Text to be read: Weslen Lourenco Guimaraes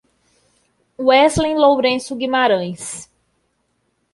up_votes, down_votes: 2, 0